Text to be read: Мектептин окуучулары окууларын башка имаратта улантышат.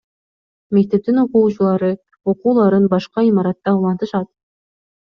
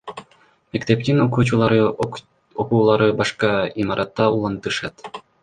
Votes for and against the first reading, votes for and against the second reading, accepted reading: 2, 0, 1, 2, first